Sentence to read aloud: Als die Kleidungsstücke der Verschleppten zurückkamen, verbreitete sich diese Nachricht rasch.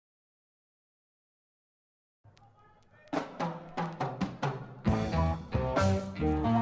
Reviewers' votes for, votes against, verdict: 0, 2, rejected